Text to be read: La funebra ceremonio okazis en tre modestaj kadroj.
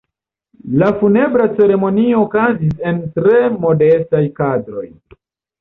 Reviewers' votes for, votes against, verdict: 0, 2, rejected